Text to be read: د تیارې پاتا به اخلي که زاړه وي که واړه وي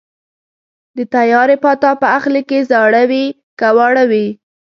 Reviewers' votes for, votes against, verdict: 2, 0, accepted